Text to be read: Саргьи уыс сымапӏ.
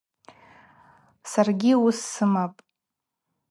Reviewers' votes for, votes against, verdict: 4, 0, accepted